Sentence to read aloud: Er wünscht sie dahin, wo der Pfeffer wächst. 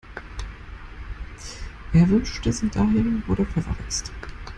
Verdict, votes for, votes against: rejected, 0, 2